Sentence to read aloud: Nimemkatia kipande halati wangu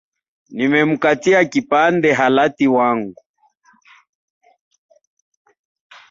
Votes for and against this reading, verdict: 4, 1, accepted